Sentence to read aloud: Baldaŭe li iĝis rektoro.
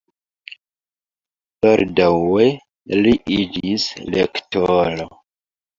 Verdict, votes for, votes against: rejected, 0, 2